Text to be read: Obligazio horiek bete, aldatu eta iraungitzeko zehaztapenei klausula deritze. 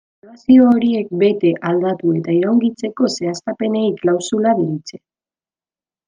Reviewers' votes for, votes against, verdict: 1, 2, rejected